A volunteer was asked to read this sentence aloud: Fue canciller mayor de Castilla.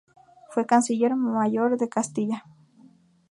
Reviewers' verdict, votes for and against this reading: accepted, 2, 0